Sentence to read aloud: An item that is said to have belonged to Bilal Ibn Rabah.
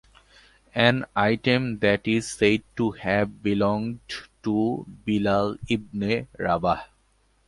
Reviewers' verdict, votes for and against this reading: rejected, 1, 2